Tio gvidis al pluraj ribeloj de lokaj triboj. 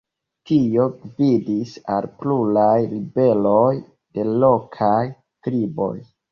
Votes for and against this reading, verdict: 2, 1, accepted